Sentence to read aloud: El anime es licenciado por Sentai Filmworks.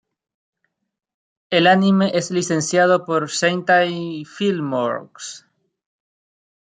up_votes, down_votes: 1, 2